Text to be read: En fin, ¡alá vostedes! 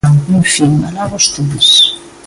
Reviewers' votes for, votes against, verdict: 1, 2, rejected